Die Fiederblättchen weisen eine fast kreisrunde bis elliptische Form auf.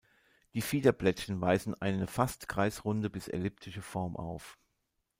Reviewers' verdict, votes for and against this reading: accepted, 2, 0